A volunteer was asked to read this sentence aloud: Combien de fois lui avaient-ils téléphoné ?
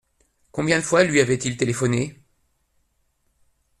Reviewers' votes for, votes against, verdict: 2, 0, accepted